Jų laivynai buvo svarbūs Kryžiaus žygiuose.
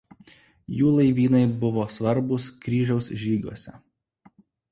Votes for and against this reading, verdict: 2, 0, accepted